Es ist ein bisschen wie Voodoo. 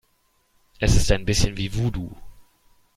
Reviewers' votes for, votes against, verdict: 2, 0, accepted